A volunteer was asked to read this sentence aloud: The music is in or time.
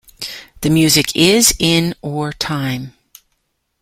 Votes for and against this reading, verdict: 2, 1, accepted